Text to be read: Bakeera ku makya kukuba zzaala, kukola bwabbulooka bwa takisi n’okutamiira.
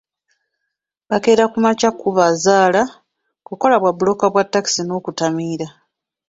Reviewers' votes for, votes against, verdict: 1, 2, rejected